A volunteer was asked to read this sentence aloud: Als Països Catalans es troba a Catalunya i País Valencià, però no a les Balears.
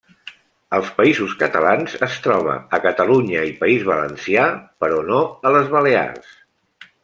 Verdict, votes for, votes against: accepted, 2, 0